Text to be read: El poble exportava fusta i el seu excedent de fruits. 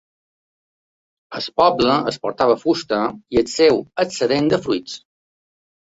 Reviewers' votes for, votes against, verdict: 0, 2, rejected